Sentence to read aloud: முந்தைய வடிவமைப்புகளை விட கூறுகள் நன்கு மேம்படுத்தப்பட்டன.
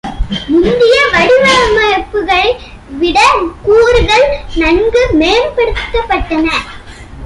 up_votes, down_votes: 1, 2